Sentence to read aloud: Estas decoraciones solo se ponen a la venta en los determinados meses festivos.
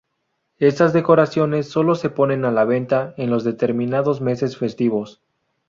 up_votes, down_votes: 2, 2